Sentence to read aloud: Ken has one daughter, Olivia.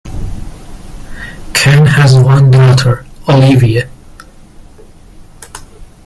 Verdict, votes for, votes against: accepted, 2, 0